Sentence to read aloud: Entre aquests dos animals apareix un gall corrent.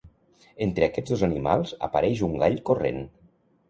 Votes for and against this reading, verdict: 2, 0, accepted